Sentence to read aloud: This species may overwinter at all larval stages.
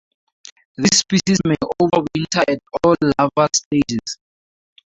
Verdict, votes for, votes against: accepted, 2, 0